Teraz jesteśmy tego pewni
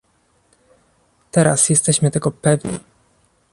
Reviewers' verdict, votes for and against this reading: accepted, 2, 0